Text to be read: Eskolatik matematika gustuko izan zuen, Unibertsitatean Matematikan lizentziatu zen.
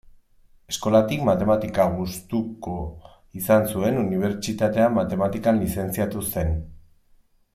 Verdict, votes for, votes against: accepted, 2, 0